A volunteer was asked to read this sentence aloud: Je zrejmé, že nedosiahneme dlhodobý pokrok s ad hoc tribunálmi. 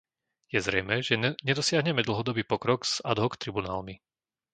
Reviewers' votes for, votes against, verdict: 0, 2, rejected